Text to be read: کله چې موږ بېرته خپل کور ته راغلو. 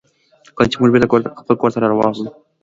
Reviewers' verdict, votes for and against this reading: accepted, 2, 1